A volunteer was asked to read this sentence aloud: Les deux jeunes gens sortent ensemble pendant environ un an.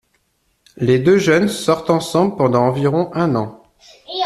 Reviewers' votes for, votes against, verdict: 1, 2, rejected